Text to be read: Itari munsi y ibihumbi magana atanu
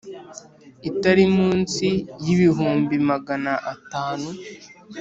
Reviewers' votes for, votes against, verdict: 2, 0, accepted